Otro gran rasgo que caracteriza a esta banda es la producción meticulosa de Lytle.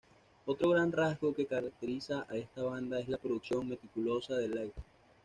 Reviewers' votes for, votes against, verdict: 2, 0, accepted